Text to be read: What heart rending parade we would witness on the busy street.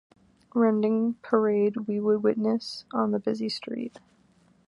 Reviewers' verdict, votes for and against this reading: rejected, 1, 2